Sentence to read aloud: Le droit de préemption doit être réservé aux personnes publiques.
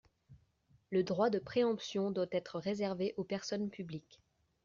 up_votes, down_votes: 2, 0